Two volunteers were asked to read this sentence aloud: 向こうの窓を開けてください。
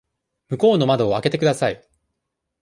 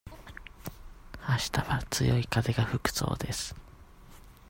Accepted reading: first